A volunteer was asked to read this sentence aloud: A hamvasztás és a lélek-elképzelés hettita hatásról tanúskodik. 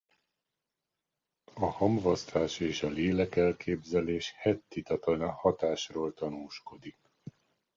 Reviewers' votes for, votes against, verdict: 0, 2, rejected